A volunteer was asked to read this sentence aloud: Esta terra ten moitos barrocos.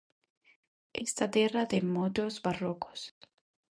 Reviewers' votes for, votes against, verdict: 0, 2, rejected